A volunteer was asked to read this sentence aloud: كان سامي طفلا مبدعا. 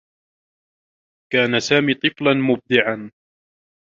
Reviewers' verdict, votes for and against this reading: rejected, 0, 2